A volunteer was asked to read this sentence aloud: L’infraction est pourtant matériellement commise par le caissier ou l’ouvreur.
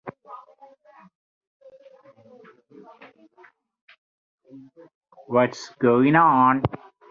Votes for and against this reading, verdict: 0, 2, rejected